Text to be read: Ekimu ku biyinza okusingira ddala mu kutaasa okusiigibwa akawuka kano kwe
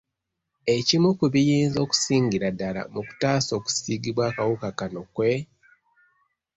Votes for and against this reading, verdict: 2, 0, accepted